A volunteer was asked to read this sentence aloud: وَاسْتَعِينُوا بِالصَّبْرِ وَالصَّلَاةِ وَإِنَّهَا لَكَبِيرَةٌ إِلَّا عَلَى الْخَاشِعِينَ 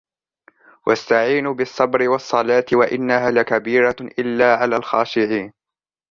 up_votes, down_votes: 2, 0